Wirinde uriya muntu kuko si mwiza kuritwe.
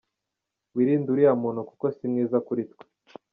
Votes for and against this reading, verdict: 2, 0, accepted